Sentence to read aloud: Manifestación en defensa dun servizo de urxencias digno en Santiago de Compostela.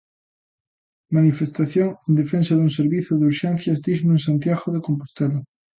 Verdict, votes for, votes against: accepted, 2, 0